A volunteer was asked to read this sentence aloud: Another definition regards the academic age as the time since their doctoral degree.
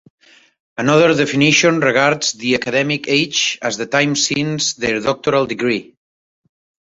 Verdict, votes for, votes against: accepted, 3, 0